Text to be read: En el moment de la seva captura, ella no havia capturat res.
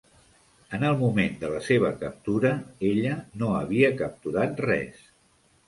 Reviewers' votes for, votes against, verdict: 3, 0, accepted